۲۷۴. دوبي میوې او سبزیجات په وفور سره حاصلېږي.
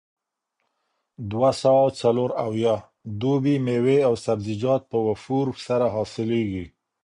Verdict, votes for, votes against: rejected, 0, 2